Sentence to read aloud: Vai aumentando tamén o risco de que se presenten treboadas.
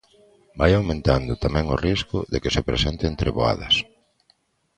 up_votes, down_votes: 2, 0